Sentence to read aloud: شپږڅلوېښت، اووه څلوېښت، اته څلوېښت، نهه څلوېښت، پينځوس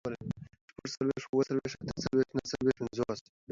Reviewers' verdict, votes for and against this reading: accepted, 2, 1